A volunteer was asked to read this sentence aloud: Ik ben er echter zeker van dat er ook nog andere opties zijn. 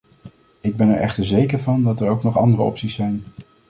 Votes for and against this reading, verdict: 2, 0, accepted